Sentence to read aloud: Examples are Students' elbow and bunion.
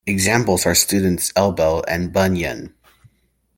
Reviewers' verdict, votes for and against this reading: accepted, 2, 1